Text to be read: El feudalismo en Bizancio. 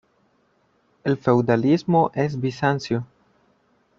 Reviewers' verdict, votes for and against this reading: rejected, 0, 2